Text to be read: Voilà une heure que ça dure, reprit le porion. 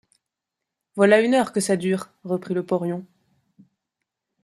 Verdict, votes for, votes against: accepted, 2, 0